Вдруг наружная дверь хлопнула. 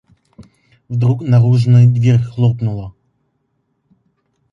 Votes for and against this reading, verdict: 0, 2, rejected